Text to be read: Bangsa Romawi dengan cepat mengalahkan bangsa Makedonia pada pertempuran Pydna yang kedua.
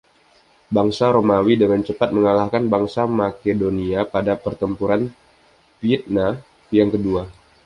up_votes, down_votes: 2, 0